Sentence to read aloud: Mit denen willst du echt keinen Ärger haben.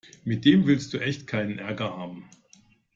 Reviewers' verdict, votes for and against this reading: rejected, 1, 2